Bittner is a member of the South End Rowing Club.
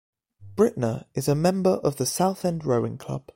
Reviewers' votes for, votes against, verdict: 0, 2, rejected